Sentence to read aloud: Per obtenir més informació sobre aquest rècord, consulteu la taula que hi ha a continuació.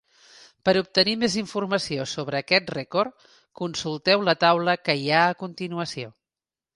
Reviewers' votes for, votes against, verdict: 4, 0, accepted